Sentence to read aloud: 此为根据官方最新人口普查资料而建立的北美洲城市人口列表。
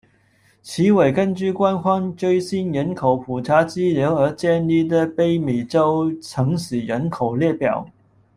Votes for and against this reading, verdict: 1, 2, rejected